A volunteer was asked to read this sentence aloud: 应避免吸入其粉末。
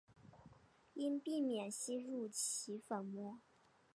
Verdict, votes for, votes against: accepted, 2, 0